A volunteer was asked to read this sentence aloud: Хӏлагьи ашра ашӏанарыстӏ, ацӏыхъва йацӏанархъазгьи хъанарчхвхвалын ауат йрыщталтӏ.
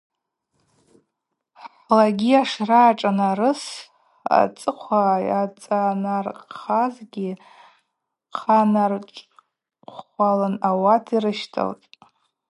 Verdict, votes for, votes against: rejected, 0, 2